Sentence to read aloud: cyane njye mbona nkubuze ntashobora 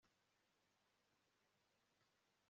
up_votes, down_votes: 1, 2